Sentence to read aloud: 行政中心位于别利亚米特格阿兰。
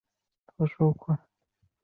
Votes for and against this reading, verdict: 0, 3, rejected